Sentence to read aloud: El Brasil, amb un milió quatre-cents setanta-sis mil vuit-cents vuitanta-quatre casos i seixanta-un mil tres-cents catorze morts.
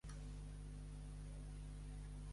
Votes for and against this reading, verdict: 0, 3, rejected